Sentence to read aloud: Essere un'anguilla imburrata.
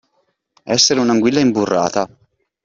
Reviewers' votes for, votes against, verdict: 2, 0, accepted